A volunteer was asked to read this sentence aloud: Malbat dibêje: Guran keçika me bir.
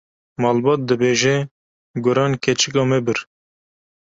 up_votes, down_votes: 2, 0